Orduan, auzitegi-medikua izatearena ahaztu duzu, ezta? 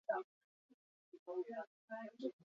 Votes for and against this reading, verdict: 0, 2, rejected